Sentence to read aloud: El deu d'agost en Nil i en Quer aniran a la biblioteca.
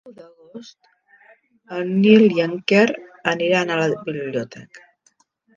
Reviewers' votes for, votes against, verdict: 0, 2, rejected